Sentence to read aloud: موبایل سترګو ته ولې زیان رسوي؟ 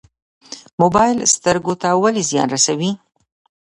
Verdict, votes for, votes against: rejected, 0, 2